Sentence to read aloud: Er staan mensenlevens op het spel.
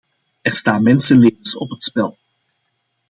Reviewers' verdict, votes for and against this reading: accepted, 2, 1